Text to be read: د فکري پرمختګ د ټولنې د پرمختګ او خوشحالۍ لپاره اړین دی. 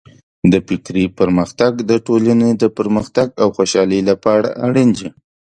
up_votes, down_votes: 2, 0